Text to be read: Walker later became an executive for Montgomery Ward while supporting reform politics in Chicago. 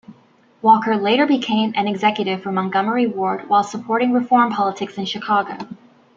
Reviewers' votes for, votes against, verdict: 2, 0, accepted